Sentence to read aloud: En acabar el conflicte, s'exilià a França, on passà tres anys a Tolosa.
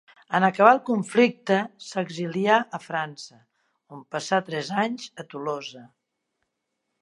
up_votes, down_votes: 3, 0